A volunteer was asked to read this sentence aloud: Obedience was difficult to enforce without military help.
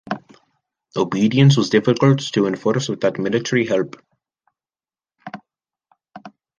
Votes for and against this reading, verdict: 0, 2, rejected